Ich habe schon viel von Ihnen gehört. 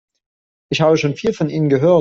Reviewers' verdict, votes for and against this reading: rejected, 1, 2